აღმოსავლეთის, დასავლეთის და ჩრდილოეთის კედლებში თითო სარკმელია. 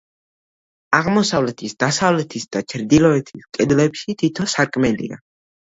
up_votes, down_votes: 2, 1